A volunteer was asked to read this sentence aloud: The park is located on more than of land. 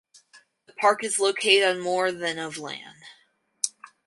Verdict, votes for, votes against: rejected, 2, 2